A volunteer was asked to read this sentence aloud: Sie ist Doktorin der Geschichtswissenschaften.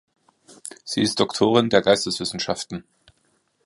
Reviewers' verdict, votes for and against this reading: rejected, 0, 2